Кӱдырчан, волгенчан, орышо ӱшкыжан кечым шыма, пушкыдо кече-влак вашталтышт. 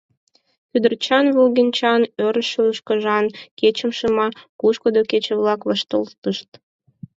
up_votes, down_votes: 4, 0